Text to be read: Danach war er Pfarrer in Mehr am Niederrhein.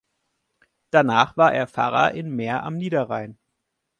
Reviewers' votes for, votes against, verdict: 2, 0, accepted